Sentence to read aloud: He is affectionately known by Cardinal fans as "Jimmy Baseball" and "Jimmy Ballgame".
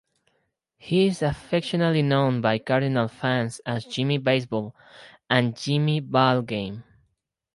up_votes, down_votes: 4, 0